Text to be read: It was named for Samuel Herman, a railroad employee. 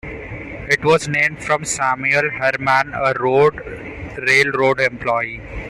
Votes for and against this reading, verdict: 0, 2, rejected